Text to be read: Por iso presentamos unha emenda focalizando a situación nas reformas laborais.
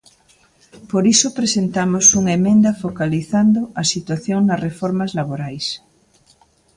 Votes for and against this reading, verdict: 2, 0, accepted